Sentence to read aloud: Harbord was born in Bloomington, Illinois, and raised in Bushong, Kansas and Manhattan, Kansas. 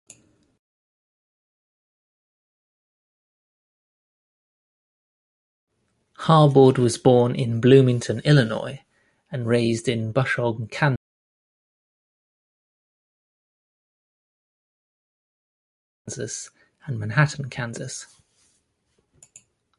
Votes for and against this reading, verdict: 1, 2, rejected